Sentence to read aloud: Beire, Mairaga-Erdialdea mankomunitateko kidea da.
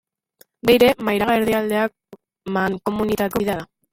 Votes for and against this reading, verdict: 0, 2, rejected